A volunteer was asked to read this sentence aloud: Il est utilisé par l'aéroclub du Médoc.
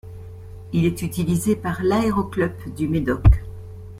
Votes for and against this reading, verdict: 2, 0, accepted